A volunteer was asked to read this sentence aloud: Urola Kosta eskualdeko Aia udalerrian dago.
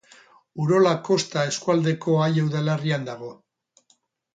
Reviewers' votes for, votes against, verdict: 4, 2, accepted